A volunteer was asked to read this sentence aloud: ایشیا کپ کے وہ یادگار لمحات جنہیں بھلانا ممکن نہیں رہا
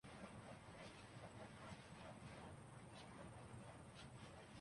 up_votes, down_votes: 0, 3